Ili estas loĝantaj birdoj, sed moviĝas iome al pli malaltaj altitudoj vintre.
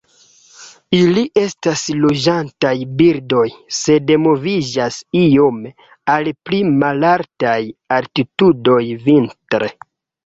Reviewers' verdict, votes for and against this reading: accepted, 2, 1